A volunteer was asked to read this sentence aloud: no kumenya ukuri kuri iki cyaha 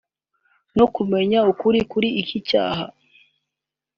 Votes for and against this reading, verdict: 2, 0, accepted